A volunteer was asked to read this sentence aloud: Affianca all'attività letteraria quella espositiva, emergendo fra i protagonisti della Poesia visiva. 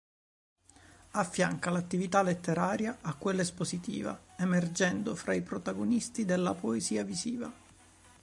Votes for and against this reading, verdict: 1, 2, rejected